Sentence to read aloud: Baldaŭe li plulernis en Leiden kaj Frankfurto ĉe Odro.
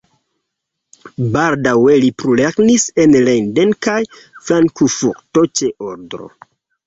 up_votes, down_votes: 2, 1